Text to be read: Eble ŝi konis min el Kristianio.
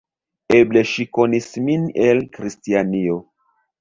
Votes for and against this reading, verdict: 0, 2, rejected